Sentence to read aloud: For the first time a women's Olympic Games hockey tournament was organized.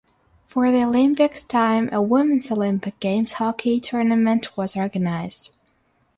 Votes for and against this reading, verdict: 3, 6, rejected